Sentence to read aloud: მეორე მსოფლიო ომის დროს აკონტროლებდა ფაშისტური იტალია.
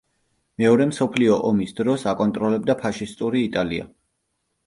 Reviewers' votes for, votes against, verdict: 2, 0, accepted